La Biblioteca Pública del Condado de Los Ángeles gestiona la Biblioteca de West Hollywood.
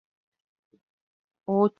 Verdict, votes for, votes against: rejected, 0, 2